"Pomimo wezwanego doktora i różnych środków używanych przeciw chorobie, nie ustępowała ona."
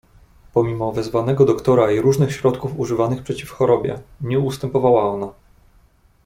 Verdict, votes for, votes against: accepted, 2, 0